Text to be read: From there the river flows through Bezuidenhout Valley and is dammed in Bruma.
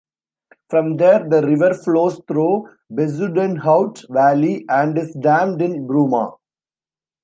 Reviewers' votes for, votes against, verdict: 2, 0, accepted